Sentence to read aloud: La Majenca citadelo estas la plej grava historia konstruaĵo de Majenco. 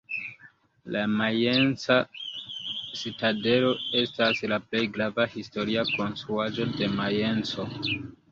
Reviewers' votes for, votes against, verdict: 2, 0, accepted